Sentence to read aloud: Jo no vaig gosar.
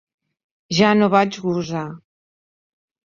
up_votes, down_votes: 1, 2